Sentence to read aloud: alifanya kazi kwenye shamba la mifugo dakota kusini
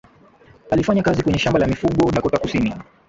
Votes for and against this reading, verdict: 5, 1, accepted